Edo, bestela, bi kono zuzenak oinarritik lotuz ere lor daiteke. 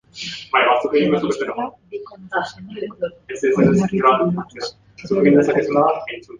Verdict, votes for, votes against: rejected, 0, 3